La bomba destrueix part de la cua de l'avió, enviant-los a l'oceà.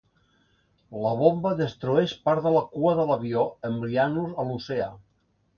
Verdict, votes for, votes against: accepted, 2, 1